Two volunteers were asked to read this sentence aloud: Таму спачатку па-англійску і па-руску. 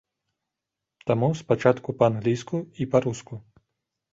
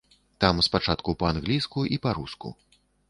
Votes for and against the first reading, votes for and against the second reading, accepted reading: 2, 0, 1, 2, first